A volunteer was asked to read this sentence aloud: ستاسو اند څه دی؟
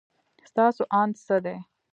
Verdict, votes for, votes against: rejected, 1, 2